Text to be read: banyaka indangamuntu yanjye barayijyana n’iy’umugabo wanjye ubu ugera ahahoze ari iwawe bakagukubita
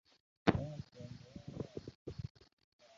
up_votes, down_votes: 0, 2